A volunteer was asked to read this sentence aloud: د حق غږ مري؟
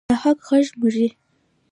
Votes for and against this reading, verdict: 2, 0, accepted